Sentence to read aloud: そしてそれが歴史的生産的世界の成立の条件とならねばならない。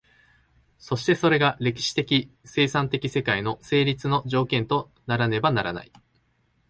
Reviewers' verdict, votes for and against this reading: accepted, 2, 0